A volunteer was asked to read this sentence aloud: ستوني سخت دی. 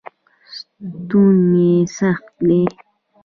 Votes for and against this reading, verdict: 0, 2, rejected